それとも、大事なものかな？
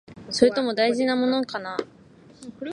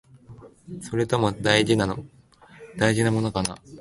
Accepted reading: first